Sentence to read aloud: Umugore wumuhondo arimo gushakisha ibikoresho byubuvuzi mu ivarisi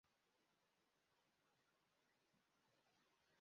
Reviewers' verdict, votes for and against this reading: rejected, 0, 2